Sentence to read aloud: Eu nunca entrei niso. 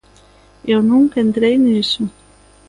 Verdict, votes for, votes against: accepted, 2, 0